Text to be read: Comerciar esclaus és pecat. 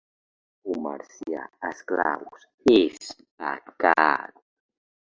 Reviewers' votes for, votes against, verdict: 2, 1, accepted